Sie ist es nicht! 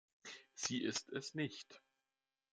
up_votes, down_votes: 2, 0